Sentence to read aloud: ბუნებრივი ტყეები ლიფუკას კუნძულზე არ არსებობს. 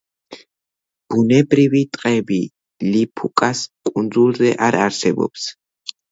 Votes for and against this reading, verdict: 1, 2, rejected